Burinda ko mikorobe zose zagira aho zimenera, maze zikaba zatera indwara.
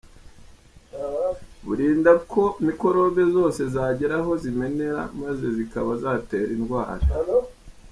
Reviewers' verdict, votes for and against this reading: accepted, 2, 0